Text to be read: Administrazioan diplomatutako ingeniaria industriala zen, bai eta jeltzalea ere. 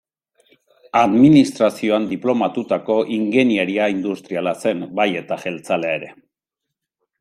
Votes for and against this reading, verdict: 1, 2, rejected